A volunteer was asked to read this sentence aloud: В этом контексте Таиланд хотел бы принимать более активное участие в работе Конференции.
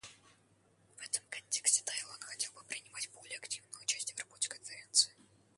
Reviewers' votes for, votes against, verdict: 0, 2, rejected